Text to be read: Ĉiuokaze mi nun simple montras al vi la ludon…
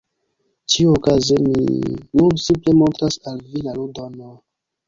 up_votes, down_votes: 1, 2